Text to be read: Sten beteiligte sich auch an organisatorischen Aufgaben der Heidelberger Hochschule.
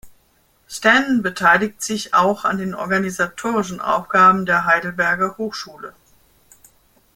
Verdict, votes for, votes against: rejected, 1, 2